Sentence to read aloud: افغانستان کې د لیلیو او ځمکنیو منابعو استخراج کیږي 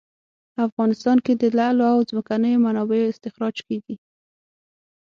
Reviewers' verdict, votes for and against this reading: rejected, 3, 6